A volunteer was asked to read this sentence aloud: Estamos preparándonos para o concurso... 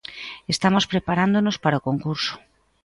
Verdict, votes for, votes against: accepted, 2, 0